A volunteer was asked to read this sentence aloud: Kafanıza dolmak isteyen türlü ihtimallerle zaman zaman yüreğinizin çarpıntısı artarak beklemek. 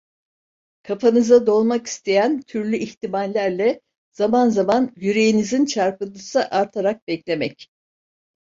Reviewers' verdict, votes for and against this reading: accepted, 2, 0